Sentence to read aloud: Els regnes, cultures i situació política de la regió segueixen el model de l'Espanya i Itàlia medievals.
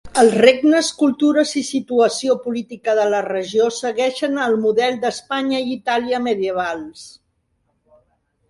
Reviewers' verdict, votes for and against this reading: rejected, 0, 2